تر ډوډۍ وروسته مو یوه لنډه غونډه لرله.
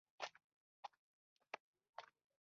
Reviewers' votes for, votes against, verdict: 0, 2, rejected